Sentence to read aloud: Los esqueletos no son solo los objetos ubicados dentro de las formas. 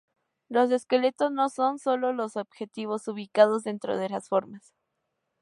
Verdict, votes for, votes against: rejected, 0, 2